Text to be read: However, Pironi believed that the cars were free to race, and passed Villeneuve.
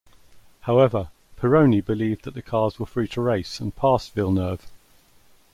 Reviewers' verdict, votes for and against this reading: accepted, 2, 0